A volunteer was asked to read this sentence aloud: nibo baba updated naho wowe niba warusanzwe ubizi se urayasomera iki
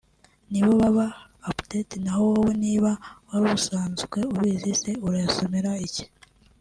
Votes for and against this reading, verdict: 2, 0, accepted